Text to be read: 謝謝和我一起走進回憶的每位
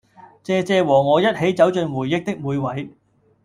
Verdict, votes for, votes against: accepted, 2, 0